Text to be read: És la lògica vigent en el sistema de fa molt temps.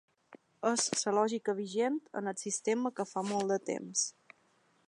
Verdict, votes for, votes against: accepted, 2, 0